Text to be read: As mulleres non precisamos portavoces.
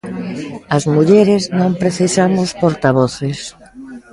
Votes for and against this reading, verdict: 1, 2, rejected